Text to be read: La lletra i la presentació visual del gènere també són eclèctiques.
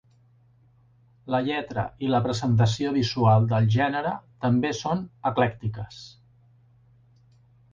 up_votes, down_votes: 3, 0